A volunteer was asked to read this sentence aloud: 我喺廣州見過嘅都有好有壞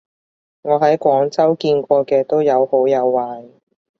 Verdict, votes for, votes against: accepted, 2, 0